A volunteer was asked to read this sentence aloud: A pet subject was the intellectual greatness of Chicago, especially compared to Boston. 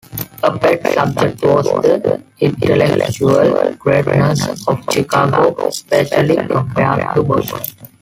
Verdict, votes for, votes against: rejected, 1, 2